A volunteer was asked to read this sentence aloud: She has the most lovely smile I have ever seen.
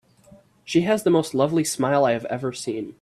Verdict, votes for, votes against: accepted, 2, 0